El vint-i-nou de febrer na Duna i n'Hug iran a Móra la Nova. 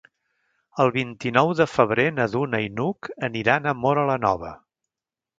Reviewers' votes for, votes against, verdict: 0, 2, rejected